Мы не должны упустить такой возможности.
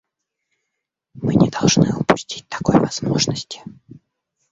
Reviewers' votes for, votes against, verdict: 1, 2, rejected